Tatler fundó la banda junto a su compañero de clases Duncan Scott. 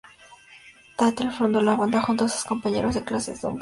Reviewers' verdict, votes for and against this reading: accepted, 4, 2